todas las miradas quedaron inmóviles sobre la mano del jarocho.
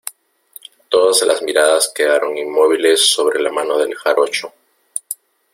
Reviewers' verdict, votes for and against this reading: accepted, 2, 0